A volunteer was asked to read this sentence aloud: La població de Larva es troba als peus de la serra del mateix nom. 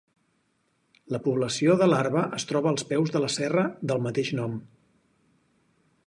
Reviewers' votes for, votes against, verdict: 4, 0, accepted